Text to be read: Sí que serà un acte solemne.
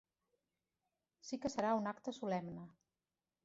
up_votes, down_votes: 2, 1